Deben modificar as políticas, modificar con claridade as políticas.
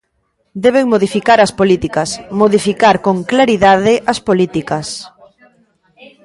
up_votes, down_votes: 0, 2